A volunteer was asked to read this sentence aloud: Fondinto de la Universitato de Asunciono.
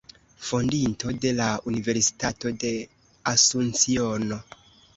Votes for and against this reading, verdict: 2, 0, accepted